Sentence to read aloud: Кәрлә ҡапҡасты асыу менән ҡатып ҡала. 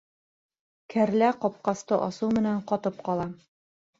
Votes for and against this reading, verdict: 2, 0, accepted